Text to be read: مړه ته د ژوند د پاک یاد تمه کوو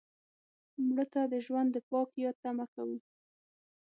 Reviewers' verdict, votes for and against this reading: accepted, 6, 0